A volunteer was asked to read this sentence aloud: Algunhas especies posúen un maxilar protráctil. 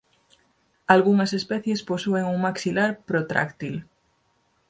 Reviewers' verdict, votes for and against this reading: accepted, 4, 0